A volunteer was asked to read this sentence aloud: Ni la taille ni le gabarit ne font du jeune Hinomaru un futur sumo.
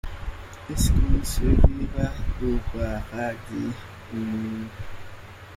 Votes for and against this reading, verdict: 0, 2, rejected